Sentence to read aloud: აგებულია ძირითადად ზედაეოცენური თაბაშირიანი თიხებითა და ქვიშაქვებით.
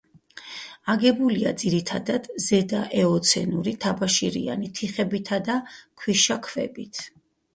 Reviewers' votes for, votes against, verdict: 4, 0, accepted